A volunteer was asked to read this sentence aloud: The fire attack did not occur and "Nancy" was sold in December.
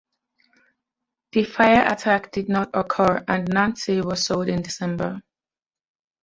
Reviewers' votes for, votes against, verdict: 2, 0, accepted